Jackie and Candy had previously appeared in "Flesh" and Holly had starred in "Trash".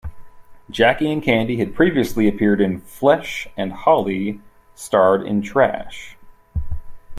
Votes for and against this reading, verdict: 0, 2, rejected